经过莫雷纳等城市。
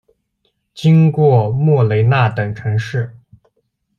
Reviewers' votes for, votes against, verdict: 2, 0, accepted